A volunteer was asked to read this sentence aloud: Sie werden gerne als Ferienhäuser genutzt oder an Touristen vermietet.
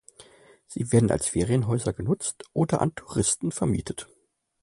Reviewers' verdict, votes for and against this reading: rejected, 0, 2